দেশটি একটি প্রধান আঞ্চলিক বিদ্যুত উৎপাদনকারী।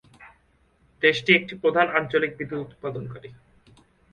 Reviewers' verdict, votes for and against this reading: accepted, 2, 1